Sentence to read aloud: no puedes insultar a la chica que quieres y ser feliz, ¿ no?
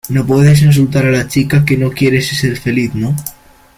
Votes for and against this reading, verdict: 0, 2, rejected